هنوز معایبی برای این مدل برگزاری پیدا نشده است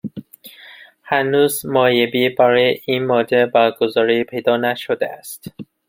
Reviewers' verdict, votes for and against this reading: accepted, 2, 1